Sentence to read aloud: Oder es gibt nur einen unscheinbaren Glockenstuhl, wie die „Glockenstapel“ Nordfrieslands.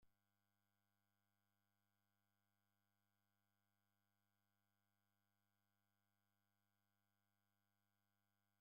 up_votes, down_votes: 0, 2